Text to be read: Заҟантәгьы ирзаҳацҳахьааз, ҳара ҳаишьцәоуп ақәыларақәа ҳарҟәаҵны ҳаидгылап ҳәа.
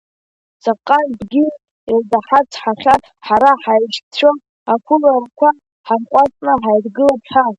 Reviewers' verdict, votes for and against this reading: rejected, 0, 2